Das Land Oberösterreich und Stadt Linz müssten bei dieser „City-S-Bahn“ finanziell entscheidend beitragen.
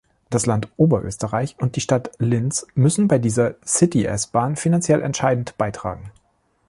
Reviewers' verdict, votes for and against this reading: rejected, 1, 2